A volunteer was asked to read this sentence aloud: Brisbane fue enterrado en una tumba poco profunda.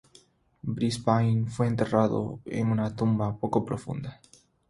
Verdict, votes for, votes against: accepted, 6, 0